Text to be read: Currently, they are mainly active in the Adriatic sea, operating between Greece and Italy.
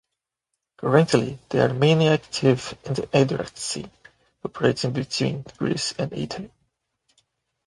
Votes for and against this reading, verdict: 0, 2, rejected